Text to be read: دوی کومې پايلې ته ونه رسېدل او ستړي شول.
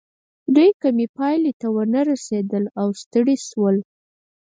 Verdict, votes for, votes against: rejected, 0, 4